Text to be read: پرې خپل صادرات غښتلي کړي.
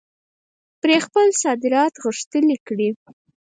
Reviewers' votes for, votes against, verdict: 2, 4, rejected